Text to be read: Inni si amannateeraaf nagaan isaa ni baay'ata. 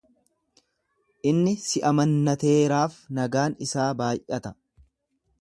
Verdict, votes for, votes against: rejected, 0, 2